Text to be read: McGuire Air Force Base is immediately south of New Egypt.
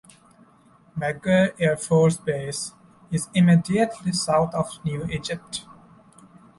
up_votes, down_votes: 2, 1